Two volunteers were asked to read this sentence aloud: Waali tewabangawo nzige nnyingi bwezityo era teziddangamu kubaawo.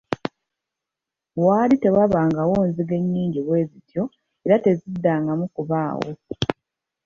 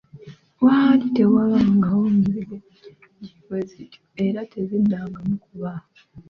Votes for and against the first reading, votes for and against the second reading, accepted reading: 0, 2, 2, 1, second